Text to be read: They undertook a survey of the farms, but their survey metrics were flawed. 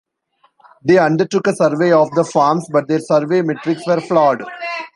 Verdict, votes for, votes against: accepted, 2, 0